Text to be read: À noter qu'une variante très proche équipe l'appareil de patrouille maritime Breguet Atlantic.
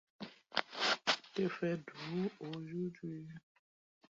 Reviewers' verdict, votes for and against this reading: rejected, 0, 2